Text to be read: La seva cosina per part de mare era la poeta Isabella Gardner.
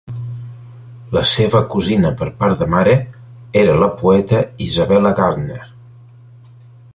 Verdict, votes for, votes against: accepted, 3, 1